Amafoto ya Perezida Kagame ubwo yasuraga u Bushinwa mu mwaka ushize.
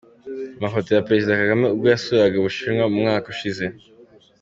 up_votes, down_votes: 2, 0